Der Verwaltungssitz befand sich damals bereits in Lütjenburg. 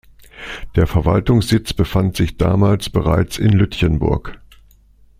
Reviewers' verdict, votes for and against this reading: accepted, 2, 0